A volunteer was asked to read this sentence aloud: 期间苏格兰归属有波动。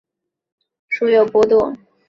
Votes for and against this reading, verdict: 1, 2, rejected